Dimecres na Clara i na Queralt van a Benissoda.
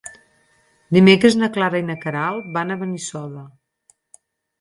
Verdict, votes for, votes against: accepted, 6, 2